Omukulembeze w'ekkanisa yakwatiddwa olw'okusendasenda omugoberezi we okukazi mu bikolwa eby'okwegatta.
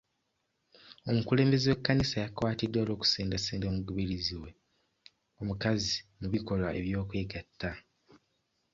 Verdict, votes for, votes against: rejected, 0, 2